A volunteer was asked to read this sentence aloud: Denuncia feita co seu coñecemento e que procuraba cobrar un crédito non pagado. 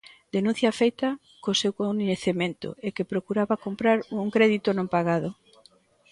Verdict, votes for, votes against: rejected, 0, 2